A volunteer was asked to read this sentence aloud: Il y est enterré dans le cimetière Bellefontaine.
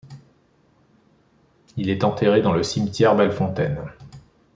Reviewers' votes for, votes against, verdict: 0, 2, rejected